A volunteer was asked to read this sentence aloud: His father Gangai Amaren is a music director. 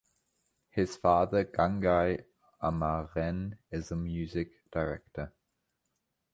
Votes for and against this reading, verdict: 2, 0, accepted